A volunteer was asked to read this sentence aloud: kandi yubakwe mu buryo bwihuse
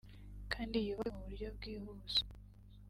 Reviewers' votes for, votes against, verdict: 0, 2, rejected